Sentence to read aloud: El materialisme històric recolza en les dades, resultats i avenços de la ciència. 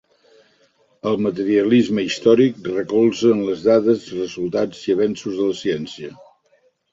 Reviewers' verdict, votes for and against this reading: accepted, 2, 0